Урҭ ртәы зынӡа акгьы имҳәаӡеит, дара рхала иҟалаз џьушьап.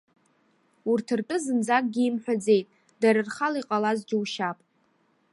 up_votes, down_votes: 2, 1